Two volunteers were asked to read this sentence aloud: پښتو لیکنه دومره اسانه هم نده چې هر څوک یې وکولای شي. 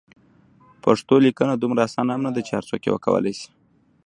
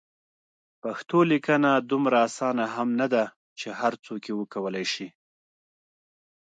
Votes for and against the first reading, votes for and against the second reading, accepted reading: 1, 2, 2, 0, second